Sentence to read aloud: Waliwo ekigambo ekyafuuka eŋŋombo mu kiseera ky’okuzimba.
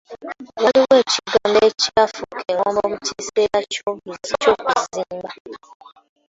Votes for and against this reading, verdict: 1, 2, rejected